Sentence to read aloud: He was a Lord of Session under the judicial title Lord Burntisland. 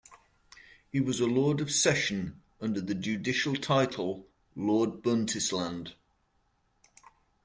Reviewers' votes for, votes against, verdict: 1, 2, rejected